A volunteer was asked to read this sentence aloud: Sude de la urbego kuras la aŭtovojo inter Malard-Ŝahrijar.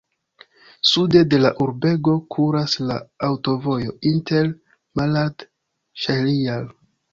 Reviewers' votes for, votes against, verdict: 1, 2, rejected